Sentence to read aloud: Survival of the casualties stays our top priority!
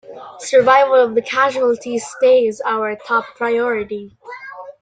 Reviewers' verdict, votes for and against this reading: rejected, 0, 2